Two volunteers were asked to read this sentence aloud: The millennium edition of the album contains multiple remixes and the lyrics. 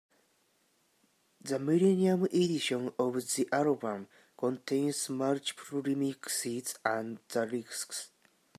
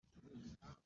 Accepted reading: first